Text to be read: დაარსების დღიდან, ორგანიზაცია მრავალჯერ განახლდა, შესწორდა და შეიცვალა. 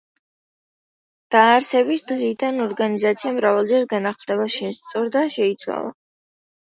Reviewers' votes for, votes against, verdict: 2, 1, accepted